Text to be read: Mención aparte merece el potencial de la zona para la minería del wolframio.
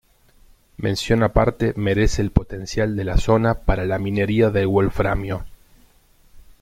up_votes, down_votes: 2, 0